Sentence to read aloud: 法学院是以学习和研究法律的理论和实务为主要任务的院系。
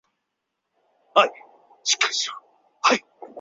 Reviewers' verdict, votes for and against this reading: rejected, 2, 3